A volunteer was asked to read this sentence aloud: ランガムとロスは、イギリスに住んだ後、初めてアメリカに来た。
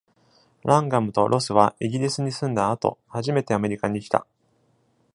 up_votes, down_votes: 2, 0